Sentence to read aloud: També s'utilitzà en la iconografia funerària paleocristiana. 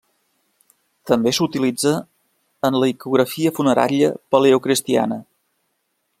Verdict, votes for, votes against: rejected, 0, 2